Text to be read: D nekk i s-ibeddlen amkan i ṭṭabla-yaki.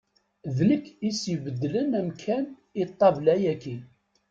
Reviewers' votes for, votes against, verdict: 2, 0, accepted